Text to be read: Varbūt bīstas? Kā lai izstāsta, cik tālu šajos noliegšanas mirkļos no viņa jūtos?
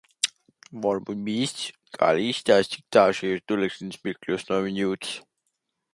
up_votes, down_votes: 0, 2